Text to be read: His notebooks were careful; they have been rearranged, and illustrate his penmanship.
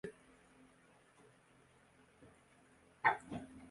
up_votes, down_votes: 0, 2